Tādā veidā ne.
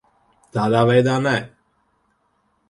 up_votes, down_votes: 2, 4